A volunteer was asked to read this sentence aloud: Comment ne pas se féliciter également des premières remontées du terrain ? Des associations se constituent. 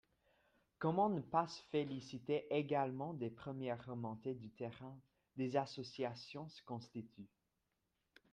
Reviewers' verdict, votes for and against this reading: rejected, 1, 2